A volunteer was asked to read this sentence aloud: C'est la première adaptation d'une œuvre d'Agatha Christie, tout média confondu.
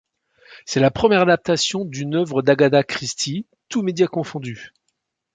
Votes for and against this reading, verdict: 1, 2, rejected